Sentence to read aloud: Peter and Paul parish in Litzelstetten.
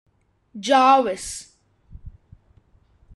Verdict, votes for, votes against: rejected, 0, 2